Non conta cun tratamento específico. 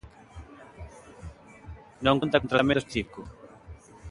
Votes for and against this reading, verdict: 0, 2, rejected